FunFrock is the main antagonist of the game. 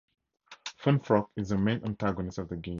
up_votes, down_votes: 2, 2